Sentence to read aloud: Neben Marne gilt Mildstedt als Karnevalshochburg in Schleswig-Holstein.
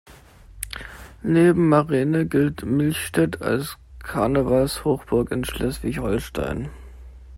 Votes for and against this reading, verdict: 1, 2, rejected